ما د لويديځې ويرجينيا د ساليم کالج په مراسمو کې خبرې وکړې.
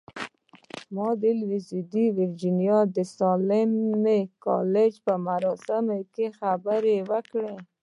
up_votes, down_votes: 2, 0